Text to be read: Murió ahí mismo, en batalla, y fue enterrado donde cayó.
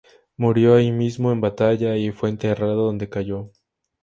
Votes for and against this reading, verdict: 2, 0, accepted